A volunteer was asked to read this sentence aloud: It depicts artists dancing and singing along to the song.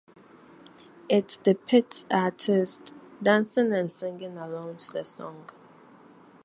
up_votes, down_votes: 0, 4